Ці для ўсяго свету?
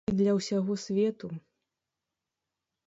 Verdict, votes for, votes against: rejected, 0, 2